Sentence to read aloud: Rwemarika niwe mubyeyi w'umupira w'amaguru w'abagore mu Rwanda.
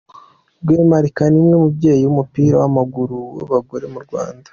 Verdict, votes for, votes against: accepted, 2, 0